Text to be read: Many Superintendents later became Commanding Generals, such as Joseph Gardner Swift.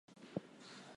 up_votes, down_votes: 0, 4